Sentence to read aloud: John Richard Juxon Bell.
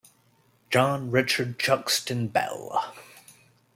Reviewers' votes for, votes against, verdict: 1, 2, rejected